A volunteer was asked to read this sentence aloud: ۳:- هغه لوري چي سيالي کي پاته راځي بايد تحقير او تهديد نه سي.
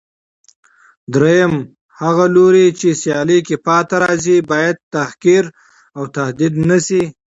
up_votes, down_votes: 0, 2